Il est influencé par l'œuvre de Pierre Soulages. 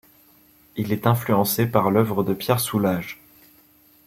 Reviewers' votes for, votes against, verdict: 2, 0, accepted